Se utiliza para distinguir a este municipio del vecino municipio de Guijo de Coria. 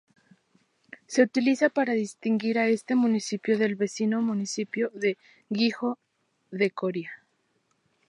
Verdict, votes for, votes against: rejected, 2, 2